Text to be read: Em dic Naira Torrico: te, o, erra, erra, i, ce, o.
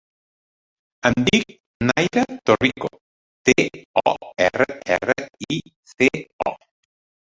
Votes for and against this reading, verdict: 0, 2, rejected